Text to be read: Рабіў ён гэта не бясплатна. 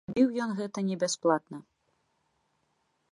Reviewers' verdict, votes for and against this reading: rejected, 1, 2